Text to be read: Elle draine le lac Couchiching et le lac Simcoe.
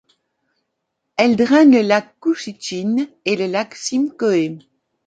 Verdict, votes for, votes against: accepted, 2, 0